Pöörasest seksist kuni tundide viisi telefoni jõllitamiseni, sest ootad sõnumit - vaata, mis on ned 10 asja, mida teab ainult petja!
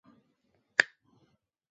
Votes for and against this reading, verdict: 0, 2, rejected